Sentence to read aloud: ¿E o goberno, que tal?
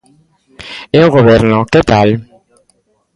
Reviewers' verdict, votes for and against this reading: rejected, 1, 2